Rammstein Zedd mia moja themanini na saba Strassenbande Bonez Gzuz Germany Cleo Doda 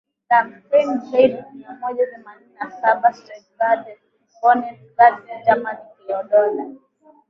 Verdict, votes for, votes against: rejected, 0, 2